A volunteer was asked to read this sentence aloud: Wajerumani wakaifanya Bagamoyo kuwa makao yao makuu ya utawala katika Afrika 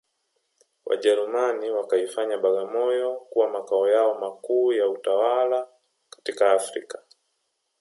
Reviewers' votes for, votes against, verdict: 2, 1, accepted